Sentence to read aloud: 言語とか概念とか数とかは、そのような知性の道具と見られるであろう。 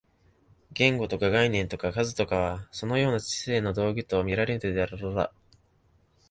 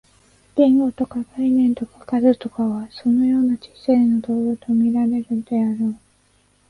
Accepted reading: second